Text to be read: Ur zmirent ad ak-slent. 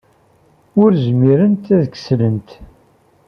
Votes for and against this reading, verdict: 0, 2, rejected